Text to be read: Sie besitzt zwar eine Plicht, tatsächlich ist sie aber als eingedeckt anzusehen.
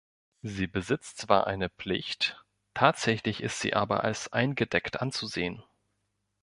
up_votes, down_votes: 3, 0